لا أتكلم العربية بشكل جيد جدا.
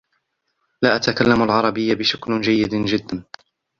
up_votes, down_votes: 2, 1